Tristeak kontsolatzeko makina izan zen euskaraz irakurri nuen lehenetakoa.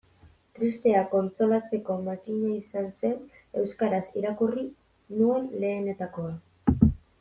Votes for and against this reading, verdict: 1, 2, rejected